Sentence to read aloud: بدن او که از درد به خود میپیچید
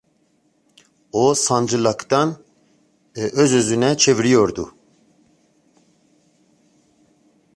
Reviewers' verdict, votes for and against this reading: rejected, 0, 2